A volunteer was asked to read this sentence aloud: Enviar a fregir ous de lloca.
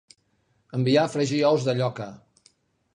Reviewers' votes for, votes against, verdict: 3, 0, accepted